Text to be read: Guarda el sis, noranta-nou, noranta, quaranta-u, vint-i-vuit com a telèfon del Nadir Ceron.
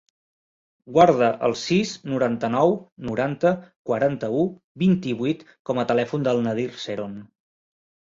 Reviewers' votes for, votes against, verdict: 2, 0, accepted